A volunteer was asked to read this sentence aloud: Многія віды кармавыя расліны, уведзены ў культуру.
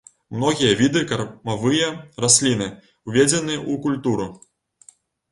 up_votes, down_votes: 1, 2